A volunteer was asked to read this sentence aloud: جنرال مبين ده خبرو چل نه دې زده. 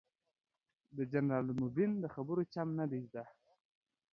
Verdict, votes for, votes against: rejected, 1, 2